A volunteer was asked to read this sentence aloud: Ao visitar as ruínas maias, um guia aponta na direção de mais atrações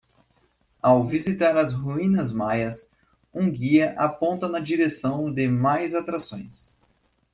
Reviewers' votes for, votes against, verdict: 2, 0, accepted